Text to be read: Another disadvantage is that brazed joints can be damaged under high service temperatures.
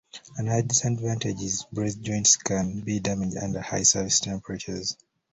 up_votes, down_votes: 1, 2